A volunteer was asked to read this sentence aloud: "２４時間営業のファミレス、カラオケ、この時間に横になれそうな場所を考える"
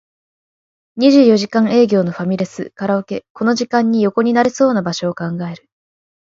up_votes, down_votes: 0, 2